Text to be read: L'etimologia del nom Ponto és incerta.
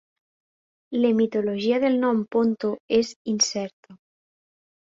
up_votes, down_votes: 0, 2